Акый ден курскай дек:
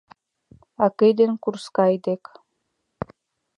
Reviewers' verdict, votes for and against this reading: accepted, 2, 0